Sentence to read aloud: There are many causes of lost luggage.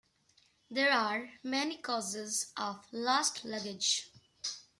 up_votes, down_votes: 1, 2